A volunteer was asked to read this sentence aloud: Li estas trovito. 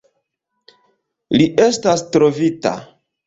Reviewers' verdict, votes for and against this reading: rejected, 1, 2